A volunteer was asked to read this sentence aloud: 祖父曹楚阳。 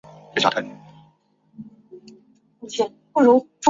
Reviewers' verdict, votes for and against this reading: rejected, 3, 6